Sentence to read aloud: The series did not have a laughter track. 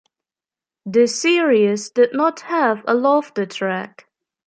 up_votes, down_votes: 1, 2